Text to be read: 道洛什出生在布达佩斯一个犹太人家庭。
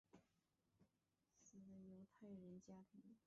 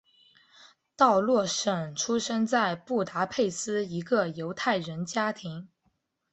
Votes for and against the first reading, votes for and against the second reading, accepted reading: 0, 3, 3, 0, second